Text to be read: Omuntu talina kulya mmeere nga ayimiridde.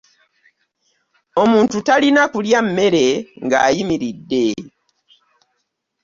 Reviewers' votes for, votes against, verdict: 2, 0, accepted